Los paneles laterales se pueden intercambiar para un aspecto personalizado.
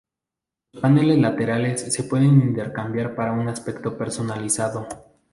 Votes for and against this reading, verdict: 0, 2, rejected